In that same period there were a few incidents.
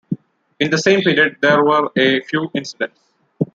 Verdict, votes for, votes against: rejected, 1, 2